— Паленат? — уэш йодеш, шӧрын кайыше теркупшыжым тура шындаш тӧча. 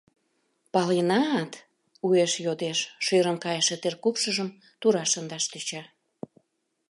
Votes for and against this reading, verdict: 2, 0, accepted